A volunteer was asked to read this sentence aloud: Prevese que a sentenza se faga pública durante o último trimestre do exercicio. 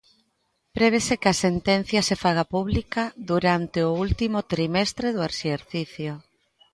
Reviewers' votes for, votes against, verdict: 1, 2, rejected